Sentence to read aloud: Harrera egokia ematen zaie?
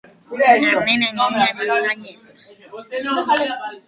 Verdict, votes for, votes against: rejected, 0, 3